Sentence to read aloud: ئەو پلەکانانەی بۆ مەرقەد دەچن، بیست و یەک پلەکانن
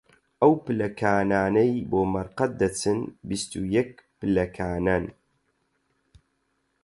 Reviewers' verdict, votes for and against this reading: accepted, 4, 0